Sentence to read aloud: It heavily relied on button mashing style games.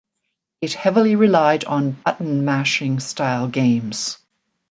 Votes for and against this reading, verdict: 2, 0, accepted